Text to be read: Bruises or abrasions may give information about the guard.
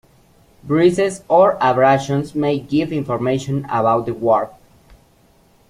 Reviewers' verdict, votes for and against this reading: accepted, 2, 1